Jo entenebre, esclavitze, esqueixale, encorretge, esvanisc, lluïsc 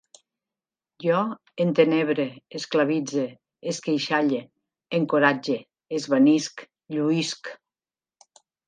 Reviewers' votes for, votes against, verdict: 1, 3, rejected